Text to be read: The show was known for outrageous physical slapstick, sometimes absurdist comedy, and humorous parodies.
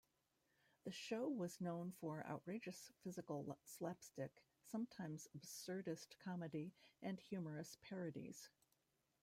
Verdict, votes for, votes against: rejected, 0, 2